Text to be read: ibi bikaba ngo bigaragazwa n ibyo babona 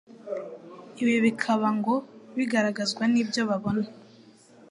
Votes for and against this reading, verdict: 2, 0, accepted